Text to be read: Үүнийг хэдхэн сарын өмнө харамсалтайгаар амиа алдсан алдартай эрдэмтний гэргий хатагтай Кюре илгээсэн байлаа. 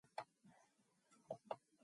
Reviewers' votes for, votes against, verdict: 0, 2, rejected